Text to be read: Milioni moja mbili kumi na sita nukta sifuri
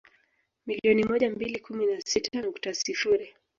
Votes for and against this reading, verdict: 0, 2, rejected